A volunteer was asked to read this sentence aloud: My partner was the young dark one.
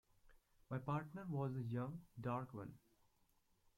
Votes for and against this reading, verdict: 2, 0, accepted